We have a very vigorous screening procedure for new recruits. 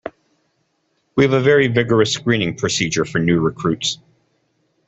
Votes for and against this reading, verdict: 2, 1, accepted